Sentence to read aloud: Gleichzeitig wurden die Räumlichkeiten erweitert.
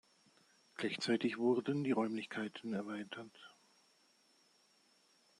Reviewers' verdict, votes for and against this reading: accepted, 2, 0